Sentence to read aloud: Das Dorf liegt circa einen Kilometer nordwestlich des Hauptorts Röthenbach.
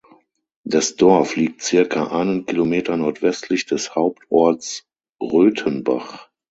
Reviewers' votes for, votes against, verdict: 3, 6, rejected